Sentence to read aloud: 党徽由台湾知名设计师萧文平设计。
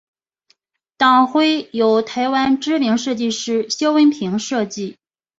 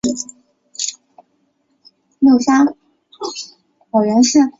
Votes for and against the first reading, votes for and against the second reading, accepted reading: 2, 0, 0, 4, first